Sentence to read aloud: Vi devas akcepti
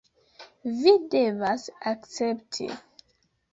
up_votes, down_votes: 2, 0